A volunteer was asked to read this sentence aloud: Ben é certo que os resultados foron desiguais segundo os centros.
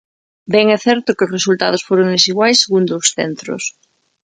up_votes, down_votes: 2, 0